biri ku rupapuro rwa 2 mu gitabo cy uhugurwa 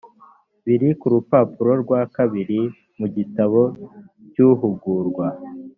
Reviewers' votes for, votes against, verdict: 0, 2, rejected